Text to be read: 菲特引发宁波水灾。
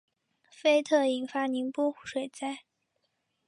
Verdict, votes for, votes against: accepted, 3, 0